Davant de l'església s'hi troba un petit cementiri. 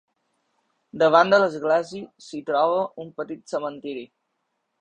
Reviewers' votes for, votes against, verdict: 2, 0, accepted